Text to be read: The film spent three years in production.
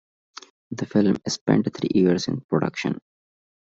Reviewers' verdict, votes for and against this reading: rejected, 0, 2